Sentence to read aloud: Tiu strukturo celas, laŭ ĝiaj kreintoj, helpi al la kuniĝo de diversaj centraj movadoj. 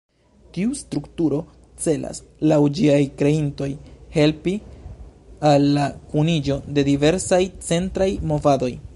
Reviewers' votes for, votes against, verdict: 0, 2, rejected